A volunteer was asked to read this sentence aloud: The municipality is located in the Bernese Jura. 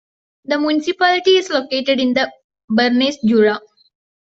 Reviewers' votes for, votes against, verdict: 2, 1, accepted